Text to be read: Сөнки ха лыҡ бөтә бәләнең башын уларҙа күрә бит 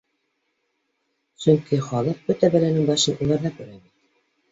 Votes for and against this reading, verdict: 1, 2, rejected